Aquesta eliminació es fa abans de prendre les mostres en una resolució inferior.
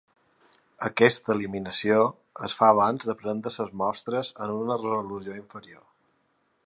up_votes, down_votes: 0, 2